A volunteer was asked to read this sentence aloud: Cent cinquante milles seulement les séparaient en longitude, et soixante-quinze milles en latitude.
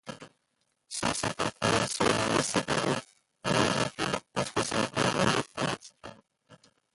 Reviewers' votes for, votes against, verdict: 0, 2, rejected